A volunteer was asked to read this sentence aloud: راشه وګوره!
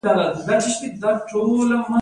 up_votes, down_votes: 1, 2